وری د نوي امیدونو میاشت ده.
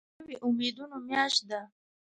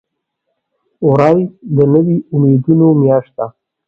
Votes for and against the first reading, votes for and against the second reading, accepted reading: 1, 2, 2, 0, second